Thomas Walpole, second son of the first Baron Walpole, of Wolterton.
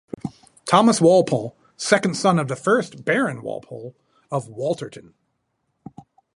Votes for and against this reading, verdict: 4, 0, accepted